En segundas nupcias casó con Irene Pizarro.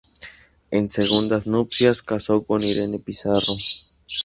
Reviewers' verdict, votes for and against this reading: rejected, 2, 2